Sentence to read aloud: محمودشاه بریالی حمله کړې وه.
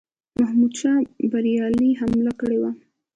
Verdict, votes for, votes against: accepted, 2, 0